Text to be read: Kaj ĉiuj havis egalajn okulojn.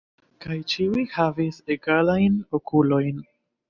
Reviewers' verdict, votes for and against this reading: accepted, 2, 0